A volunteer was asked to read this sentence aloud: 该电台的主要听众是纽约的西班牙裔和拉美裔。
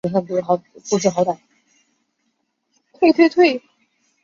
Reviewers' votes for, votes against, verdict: 0, 2, rejected